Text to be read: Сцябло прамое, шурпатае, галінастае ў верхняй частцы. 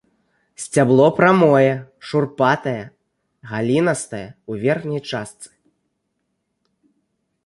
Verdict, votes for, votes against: rejected, 0, 2